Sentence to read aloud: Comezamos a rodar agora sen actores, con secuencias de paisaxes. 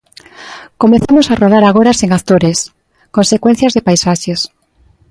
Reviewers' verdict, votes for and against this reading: accepted, 2, 0